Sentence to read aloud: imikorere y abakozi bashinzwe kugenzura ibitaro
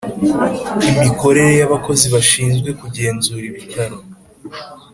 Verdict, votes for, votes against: accepted, 2, 0